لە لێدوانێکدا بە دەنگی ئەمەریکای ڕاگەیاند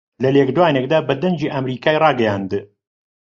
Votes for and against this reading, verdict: 1, 2, rejected